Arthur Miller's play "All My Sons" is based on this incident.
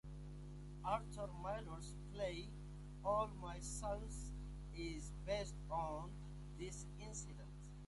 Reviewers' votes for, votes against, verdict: 2, 0, accepted